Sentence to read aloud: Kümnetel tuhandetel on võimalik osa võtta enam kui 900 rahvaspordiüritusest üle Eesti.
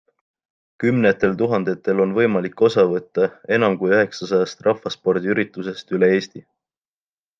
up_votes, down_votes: 0, 2